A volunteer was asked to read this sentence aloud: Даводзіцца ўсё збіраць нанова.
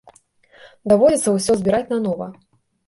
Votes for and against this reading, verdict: 2, 0, accepted